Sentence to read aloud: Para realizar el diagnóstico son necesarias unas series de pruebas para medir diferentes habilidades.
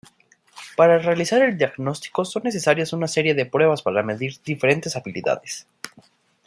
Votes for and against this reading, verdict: 1, 2, rejected